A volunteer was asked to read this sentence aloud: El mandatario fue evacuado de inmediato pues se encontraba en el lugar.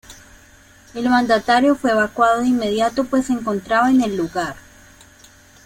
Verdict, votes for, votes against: accepted, 2, 0